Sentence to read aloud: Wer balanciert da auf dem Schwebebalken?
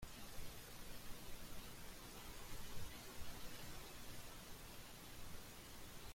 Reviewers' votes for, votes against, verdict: 0, 2, rejected